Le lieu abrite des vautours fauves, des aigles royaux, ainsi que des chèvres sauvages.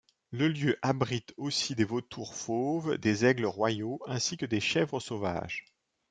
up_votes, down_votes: 1, 2